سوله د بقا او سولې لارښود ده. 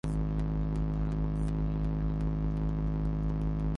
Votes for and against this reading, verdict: 0, 2, rejected